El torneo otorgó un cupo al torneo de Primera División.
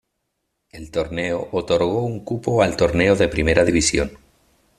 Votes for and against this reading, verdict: 2, 0, accepted